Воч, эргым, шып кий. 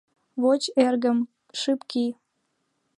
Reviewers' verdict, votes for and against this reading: accepted, 2, 1